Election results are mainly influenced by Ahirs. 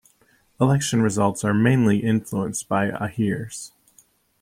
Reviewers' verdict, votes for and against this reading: accepted, 2, 0